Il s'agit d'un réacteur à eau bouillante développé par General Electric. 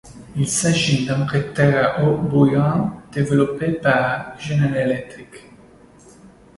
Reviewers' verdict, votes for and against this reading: rejected, 1, 2